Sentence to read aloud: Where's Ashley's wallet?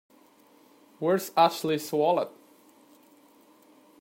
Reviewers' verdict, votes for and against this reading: accepted, 2, 0